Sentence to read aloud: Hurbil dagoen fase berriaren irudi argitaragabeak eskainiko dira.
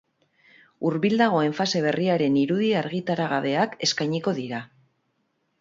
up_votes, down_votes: 4, 0